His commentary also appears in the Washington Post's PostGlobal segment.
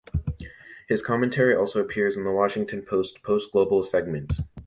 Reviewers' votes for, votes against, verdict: 2, 0, accepted